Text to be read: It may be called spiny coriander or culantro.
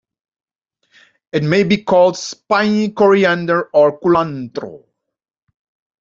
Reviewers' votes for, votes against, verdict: 2, 0, accepted